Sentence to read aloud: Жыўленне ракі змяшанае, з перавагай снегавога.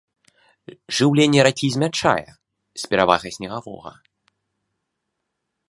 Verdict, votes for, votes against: rejected, 0, 2